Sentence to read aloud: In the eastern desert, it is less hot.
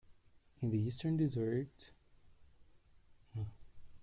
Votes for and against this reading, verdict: 0, 2, rejected